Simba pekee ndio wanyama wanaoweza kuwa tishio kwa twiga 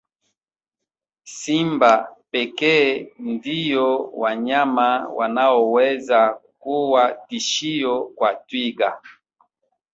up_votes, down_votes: 2, 1